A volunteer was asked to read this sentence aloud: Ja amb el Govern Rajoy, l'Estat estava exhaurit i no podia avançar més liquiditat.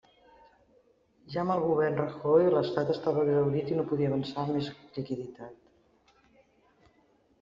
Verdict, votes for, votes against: rejected, 0, 2